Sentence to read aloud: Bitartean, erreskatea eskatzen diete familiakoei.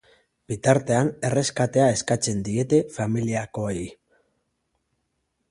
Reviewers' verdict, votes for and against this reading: accepted, 2, 0